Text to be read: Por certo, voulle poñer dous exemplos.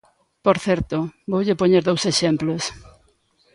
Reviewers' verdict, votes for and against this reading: accepted, 2, 0